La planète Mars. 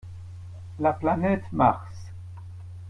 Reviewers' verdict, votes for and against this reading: accepted, 2, 0